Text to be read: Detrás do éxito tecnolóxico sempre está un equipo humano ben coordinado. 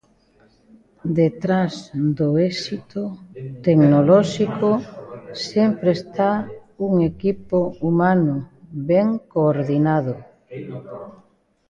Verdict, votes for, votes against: rejected, 1, 2